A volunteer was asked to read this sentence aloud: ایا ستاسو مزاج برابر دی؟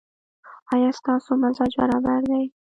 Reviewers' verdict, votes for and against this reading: accepted, 2, 0